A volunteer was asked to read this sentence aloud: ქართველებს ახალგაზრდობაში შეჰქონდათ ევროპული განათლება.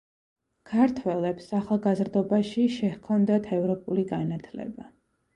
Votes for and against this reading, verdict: 2, 0, accepted